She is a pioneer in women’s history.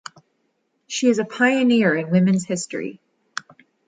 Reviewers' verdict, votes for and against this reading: accepted, 2, 0